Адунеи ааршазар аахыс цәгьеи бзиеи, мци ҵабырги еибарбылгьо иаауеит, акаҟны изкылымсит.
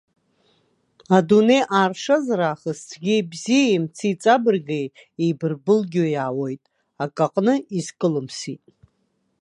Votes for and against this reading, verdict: 2, 1, accepted